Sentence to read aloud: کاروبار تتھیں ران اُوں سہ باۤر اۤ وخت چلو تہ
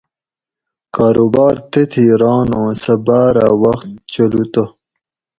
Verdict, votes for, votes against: accepted, 4, 0